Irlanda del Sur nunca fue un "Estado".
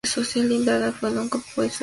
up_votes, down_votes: 0, 4